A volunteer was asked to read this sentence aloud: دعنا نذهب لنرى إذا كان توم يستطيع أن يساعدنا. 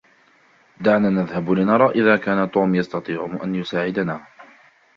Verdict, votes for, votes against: rejected, 1, 2